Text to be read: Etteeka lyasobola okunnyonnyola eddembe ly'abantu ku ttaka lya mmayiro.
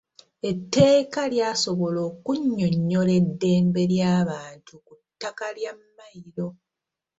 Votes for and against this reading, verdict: 2, 1, accepted